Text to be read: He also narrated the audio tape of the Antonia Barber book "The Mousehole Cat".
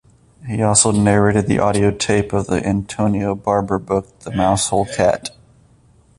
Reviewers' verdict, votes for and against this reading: accepted, 2, 0